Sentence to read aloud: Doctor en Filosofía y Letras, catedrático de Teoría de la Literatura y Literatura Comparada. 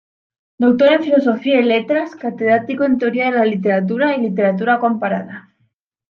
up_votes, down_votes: 0, 2